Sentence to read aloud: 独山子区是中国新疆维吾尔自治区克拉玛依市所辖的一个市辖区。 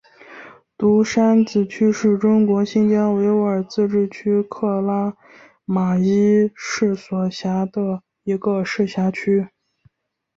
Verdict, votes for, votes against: accepted, 2, 0